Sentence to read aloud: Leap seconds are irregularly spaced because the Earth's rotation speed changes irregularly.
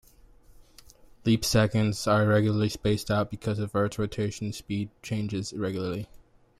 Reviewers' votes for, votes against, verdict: 1, 2, rejected